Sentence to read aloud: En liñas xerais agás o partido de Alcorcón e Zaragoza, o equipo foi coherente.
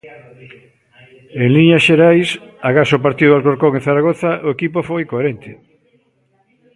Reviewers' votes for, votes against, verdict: 1, 2, rejected